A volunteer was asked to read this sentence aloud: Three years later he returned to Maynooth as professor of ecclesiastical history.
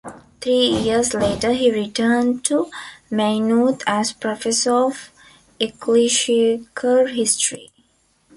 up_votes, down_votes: 1, 3